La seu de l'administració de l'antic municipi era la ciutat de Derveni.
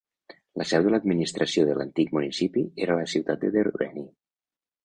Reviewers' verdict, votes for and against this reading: rejected, 0, 3